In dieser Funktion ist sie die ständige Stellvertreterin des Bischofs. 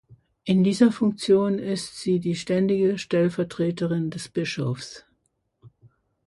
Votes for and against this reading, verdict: 2, 0, accepted